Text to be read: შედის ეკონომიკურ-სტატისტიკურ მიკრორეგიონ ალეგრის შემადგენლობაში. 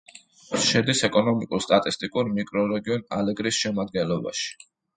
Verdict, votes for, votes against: accepted, 2, 0